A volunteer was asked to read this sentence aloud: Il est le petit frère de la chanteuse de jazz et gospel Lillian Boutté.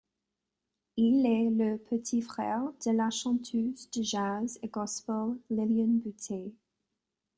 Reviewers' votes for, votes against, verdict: 2, 0, accepted